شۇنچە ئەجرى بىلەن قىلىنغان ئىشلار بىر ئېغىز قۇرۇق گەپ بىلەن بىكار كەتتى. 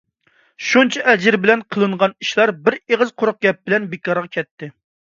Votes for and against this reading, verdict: 1, 2, rejected